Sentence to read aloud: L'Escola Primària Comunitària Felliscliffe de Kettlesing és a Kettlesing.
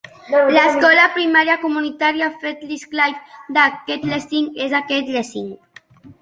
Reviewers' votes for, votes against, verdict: 2, 0, accepted